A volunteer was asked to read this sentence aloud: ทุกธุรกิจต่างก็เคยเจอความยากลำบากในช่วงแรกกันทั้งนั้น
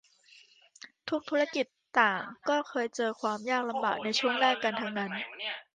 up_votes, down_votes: 1, 2